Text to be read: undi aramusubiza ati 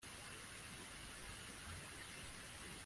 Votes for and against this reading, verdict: 0, 2, rejected